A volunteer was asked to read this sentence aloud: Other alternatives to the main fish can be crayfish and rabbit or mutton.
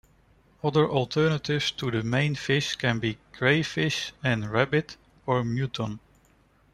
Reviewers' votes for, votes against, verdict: 0, 2, rejected